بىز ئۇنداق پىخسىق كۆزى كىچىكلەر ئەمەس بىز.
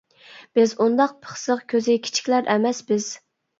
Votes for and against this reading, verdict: 2, 0, accepted